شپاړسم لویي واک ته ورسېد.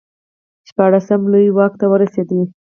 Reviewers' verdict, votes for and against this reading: accepted, 4, 0